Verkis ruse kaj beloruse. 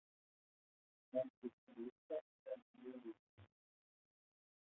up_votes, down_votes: 0, 2